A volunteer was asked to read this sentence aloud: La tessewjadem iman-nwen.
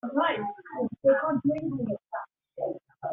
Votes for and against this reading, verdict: 0, 2, rejected